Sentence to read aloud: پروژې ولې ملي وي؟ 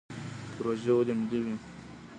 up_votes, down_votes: 2, 0